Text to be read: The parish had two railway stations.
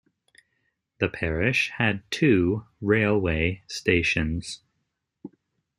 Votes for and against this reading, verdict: 2, 0, accepted